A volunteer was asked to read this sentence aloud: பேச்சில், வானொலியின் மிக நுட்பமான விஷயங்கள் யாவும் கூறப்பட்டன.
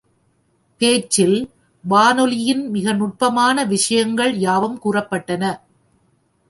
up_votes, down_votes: 2, 0